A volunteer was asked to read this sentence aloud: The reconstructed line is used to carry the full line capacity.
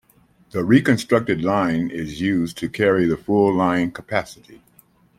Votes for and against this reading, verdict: 2, 0, accepted